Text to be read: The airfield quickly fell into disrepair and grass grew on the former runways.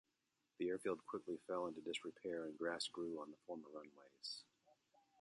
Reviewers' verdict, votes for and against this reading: rejected, 1, 2